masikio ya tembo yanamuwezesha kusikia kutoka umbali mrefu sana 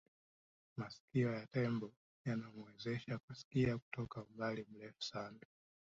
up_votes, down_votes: 2, 1